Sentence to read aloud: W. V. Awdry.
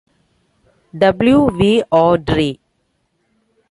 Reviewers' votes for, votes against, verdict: 2, 1, accepted